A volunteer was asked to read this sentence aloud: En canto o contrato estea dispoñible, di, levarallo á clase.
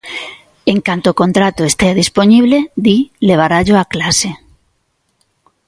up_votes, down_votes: 2, 0